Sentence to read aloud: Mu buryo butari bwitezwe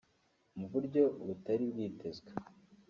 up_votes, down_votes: 0, 2